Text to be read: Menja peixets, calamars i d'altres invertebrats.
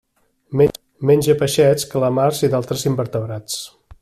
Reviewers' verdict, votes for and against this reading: rejected, 0, 2